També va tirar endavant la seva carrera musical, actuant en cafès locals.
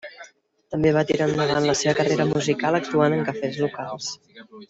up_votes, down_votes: 0, 2